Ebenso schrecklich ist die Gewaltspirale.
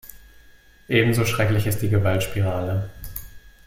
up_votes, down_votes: 2, 0